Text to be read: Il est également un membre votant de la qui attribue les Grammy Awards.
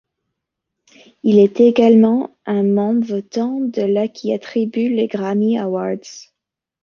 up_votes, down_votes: 2, 0